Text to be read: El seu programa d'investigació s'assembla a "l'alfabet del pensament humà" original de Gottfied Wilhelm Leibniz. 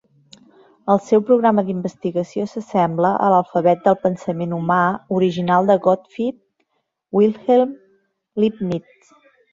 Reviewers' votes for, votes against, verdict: 2, 0, accepted